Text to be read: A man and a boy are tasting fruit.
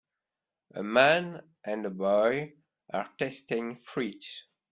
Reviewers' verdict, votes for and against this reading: rejected, 1, 2